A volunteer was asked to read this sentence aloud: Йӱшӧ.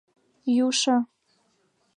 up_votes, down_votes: 0, 2